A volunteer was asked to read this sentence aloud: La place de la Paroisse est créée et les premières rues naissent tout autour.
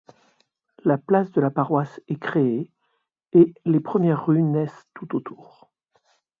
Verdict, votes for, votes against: accepted, 2, 1